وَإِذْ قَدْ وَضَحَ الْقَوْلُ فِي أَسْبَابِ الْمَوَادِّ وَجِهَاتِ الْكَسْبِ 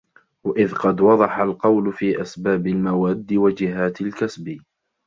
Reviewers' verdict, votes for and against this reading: accepted, 2, 0